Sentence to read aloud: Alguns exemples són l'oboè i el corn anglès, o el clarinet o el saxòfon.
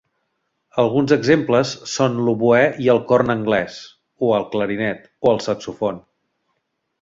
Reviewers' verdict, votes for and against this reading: rejected, 1, 2